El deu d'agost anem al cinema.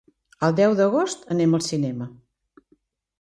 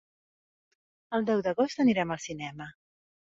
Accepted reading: first